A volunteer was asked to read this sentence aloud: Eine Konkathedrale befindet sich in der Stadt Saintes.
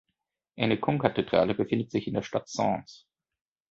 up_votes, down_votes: 2, 0